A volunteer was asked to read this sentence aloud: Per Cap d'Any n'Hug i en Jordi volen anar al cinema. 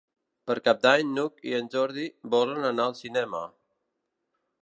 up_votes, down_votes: 3, 0